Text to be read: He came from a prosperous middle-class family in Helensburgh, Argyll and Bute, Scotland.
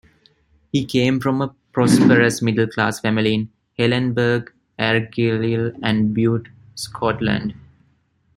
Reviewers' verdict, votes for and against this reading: rejected, 0, 2